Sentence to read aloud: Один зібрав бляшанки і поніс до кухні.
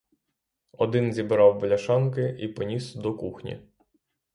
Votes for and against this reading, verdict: 3, 0, accepted